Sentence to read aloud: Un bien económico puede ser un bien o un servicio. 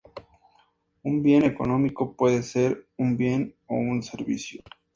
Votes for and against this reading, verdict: 2, 0, accepted